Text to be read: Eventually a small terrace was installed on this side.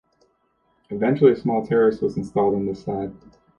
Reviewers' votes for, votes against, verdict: 2, 1, accepted